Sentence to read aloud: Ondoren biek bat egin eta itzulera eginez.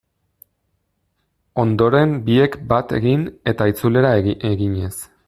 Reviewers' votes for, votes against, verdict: 2, 1, accepted